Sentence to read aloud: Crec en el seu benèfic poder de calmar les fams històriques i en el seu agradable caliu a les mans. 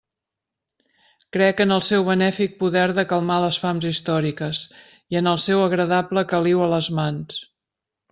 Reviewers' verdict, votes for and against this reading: rejected, 1, 2